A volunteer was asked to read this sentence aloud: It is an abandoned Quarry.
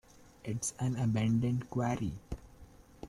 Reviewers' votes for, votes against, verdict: 1, 2, rejected